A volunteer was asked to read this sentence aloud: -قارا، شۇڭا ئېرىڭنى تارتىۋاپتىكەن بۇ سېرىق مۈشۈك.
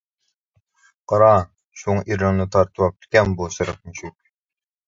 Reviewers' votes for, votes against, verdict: 1, 2, rejected